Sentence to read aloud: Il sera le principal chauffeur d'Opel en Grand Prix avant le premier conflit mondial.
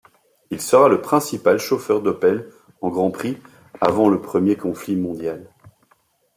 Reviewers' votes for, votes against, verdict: 2, 0, accepted